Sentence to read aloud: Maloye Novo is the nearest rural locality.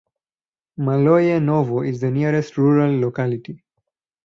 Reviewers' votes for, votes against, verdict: 4, 0, accepted